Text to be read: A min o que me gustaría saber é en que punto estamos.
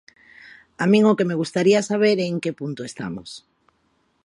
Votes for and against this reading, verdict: 2, 0, accepted